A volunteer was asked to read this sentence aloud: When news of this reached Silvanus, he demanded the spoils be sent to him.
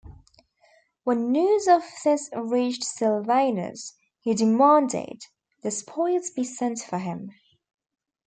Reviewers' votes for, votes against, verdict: 0, 2, rejected